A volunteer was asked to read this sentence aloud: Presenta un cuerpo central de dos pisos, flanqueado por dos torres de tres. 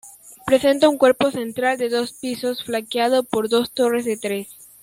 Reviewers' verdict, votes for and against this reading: accepted, 2, 1